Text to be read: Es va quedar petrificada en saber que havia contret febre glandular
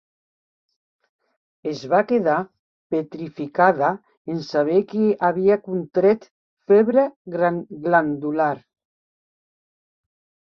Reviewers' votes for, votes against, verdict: 0, 2, rejected